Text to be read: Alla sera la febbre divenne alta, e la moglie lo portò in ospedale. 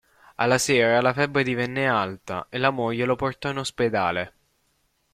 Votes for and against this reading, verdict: 0, 2, rejected